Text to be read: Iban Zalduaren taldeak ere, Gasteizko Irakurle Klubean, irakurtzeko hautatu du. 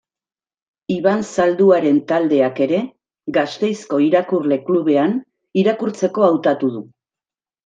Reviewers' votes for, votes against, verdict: 2, 0, accepted